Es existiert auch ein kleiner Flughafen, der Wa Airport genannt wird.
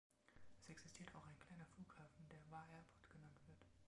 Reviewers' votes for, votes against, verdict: 3, 1, accepted